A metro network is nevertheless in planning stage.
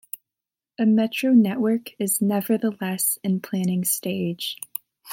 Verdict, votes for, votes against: accepted, 2, 0